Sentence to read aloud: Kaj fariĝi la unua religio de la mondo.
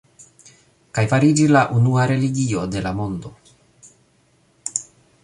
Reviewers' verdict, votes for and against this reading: accepted, 2, 0